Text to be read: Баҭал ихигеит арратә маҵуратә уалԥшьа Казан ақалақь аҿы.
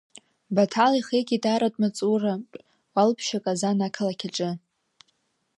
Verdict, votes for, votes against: rejected, 1, 2